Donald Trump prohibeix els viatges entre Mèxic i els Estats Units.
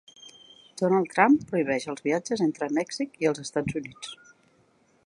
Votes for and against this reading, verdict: 2, 0, accepted